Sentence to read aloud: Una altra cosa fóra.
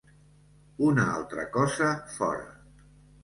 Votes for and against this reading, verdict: 2, 0, accepted